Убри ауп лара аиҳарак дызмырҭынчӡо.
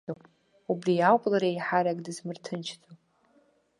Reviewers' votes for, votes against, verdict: 0, 2, rejected